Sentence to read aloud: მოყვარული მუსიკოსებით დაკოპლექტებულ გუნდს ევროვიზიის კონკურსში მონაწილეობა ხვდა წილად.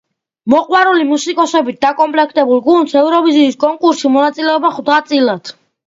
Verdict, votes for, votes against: accepted, 2, 0